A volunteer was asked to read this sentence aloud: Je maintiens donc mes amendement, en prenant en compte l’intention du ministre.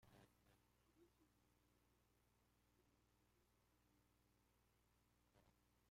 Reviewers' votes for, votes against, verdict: 0, 2, rejected